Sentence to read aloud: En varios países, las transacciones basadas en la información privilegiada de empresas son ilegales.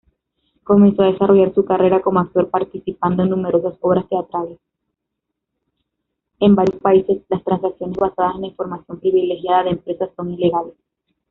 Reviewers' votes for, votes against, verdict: 0, 2, rejected